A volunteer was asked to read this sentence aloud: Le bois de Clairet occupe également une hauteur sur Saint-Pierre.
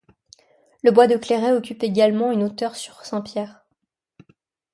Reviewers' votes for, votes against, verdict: 3, 0, accepted